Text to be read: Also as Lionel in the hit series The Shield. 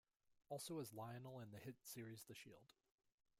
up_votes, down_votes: 2, 1